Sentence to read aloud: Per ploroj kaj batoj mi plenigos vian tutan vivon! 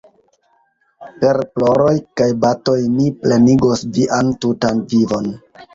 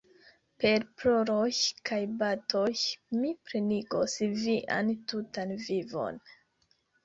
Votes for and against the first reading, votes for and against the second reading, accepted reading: 2, 1, 0, 2, first